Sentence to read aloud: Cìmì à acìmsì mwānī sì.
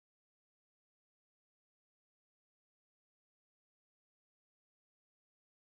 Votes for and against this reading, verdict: 0, 2, rejected